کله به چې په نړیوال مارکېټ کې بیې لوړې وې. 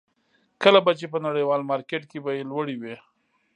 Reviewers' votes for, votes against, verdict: 2, 0, accepted